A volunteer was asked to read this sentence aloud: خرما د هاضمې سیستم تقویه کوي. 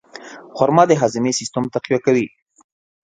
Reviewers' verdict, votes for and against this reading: accepted, 2, 0